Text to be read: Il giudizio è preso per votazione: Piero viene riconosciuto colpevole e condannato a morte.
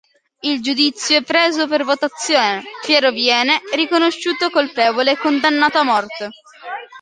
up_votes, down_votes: 2, 0